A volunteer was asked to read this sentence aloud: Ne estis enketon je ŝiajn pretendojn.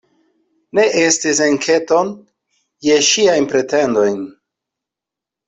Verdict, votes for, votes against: accepted, 2, 0